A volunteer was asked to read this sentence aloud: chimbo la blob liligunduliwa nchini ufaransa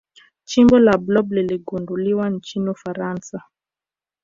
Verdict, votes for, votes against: accepted, 2, 1